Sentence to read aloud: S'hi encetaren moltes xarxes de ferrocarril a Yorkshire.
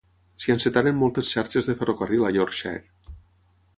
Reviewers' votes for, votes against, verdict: 3, 0, accepted